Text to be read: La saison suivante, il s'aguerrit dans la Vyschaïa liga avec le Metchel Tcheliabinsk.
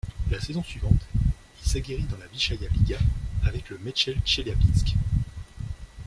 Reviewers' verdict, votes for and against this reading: accepted, 2, 0